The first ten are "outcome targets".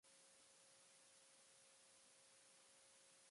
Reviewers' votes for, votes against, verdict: 0, 2, rejected